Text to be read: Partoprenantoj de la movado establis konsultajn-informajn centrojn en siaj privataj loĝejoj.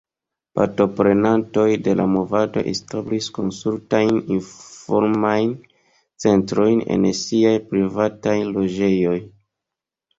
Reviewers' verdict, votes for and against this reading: accepted, 2, 0